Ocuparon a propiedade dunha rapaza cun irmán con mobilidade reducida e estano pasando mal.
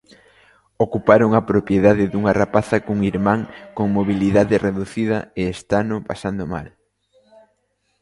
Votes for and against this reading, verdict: 2, 0, accepted